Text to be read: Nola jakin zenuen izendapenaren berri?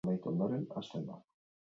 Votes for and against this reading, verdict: 0, 6, rejected